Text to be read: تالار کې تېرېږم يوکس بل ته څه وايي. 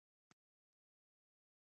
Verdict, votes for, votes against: rejected, 1, 2